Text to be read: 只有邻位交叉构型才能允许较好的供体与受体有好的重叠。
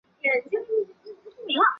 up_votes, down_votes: 0, 2